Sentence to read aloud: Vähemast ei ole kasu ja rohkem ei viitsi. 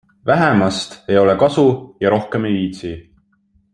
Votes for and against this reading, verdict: 2, 0, accepted